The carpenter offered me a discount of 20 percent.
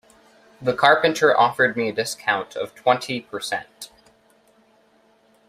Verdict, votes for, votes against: rejected, 0, 2